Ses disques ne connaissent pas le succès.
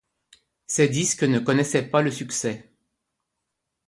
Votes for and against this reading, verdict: 1, 2, rejected